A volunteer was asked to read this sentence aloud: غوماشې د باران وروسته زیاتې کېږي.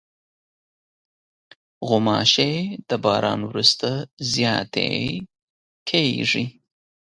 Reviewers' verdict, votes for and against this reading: accepted, 2, 0